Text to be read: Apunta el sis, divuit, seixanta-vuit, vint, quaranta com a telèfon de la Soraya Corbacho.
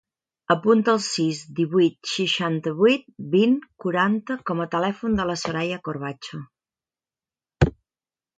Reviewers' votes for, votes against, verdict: 2, 0, accepted